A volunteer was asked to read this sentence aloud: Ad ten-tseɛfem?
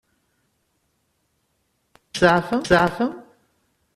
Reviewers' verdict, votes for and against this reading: rejected, 0, 2